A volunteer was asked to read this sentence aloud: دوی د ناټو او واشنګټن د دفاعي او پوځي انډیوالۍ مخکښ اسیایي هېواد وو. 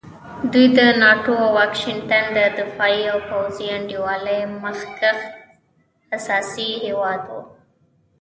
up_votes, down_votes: 0, 2